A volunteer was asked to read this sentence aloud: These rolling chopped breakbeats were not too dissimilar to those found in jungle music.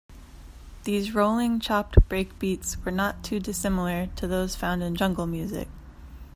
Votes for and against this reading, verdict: 2, 0, accepted